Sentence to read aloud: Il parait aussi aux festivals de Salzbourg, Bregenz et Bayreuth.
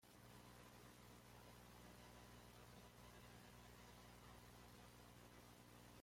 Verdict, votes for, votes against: rejected, 0, 2